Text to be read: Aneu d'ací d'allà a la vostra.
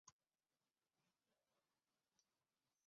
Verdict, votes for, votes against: rejected, 0, 2